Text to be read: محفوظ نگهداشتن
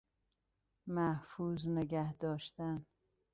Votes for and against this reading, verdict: 2, 0, accepted